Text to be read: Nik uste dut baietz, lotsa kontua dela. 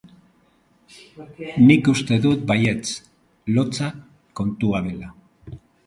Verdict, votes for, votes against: accepted, 2, 0